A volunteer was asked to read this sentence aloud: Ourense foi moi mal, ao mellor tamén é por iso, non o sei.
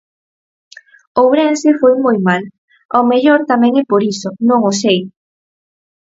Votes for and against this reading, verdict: 4, 0, accepted